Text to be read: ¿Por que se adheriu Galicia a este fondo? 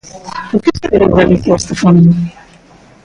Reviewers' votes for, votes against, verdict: 0, 2, rejected